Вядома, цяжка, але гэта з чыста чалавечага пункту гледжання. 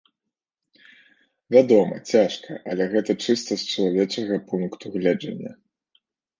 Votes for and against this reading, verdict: 1, 2, rejected